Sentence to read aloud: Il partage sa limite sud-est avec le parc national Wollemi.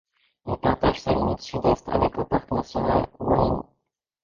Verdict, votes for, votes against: rejected, 0, 2